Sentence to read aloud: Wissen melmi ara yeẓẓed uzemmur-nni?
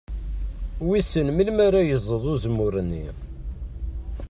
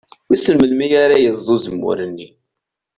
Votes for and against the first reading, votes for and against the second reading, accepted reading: 2, 0, 1, 2, first